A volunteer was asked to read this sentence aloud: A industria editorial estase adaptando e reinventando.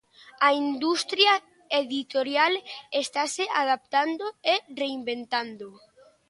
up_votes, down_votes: 2, 0